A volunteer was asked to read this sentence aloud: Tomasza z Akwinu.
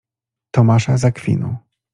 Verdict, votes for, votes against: accepted, 2, 0